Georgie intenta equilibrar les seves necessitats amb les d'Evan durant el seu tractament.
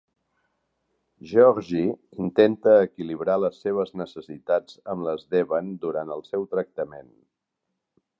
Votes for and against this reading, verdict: 4, 0, accepted